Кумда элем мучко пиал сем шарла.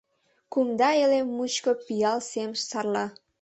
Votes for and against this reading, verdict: 0, 2, rejected